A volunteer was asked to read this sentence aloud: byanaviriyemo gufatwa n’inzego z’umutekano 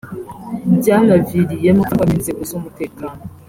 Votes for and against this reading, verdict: 3, 0, accepted